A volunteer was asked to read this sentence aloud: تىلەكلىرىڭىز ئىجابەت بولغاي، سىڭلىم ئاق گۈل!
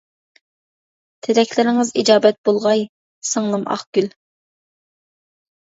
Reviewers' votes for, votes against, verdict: 2, 0, accepted